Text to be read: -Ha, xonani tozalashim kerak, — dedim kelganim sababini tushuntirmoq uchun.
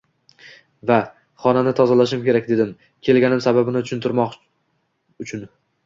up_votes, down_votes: 1, 2